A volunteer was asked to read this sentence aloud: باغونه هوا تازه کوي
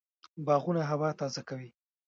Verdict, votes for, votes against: rejected, 1, 2